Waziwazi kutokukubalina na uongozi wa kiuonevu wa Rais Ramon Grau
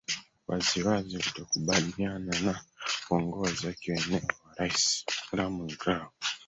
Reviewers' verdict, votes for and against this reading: rejected, 0, 3